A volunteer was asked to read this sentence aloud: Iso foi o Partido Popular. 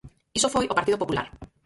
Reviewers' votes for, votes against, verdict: 0, 4, rejected